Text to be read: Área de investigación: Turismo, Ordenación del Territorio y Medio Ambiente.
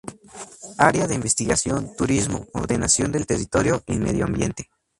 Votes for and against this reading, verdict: 2, 0, accepted